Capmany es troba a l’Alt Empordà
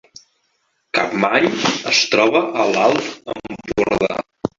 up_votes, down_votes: 1, 2